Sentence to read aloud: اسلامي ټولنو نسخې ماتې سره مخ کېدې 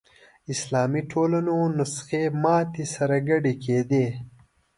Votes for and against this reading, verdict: 1, 2, rejected